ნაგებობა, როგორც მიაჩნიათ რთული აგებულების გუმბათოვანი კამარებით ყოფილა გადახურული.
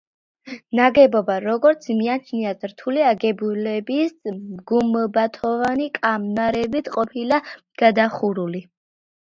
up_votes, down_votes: 2, 0